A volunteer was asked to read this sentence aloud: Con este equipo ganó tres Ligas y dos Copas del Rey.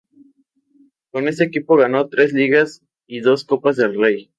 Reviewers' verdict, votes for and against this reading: accepted, 2, 0